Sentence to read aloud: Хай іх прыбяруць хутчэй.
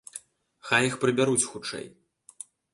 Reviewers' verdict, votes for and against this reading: accepted, 2, 0